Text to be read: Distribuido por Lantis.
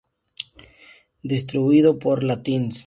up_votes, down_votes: 0, 2